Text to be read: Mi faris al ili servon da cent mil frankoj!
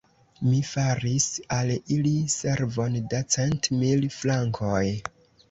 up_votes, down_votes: 0, 2